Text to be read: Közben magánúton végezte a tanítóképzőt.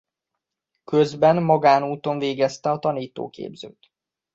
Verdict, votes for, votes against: accepted, 2, 0